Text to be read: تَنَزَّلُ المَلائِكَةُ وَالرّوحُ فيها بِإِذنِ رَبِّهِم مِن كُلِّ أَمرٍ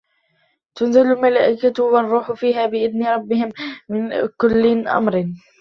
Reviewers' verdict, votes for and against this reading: rejected, 0, 2